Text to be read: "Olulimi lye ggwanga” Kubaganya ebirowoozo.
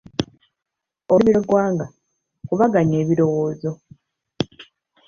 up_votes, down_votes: 1, 2